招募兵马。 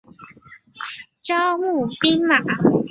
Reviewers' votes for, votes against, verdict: 4, 0, accepted